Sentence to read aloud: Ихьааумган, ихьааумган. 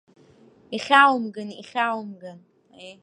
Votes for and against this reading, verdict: 0, 2, rejected